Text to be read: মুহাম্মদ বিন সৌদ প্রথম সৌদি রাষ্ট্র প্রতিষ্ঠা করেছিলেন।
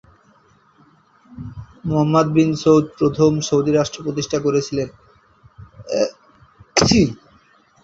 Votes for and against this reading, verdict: 3, 5, rejected